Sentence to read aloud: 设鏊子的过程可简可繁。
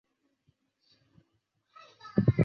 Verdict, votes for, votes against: rejected, 0, 4